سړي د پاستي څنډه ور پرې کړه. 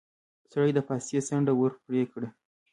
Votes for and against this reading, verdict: 2, 1, accepted